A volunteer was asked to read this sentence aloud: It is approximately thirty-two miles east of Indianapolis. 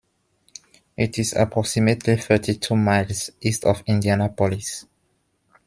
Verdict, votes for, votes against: accepted, 2, 0